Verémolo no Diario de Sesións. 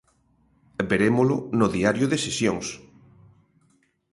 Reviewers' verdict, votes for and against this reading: accepted, 2, 0